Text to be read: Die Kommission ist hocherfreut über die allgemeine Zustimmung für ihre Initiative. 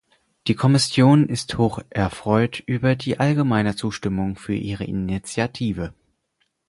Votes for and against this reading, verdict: 2, 4, rejected